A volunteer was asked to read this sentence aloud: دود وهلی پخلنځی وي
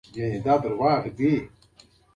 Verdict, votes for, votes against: rejected, 0, 2